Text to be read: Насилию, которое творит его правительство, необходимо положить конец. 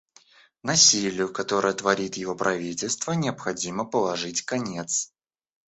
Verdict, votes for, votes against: rejected, 0, 2